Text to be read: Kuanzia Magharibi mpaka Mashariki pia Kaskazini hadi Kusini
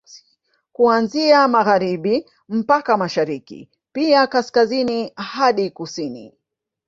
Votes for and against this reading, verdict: 3, 0, accepted